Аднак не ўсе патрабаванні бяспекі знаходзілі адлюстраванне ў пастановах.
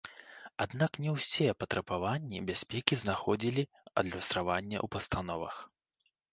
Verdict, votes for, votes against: rejected, 1, 2